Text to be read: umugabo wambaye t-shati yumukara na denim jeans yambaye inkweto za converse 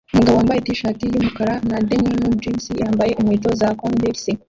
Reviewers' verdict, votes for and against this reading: rejected, 0, 2